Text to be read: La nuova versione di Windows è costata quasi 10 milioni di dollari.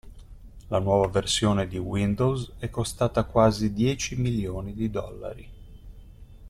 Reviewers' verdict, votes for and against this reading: rejected, 0, 2